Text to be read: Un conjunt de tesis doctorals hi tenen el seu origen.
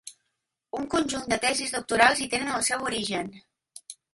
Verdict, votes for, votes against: accepted, 2, 1